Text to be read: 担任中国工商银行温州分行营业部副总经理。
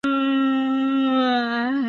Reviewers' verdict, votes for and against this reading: rejected, 0, 2